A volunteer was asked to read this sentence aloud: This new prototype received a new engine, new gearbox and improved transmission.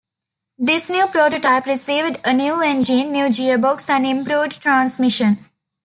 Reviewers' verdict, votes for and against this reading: rejected, 0, 2